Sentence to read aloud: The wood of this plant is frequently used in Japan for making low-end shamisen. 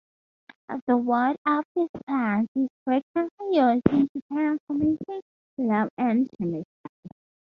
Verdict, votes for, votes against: accepted, 2, 0